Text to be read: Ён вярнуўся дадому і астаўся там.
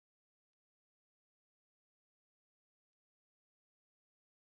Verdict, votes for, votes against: rejected, 0, 2